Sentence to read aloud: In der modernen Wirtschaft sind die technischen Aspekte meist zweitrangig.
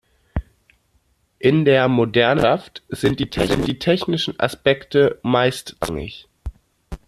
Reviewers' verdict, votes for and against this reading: rejected, 0, 2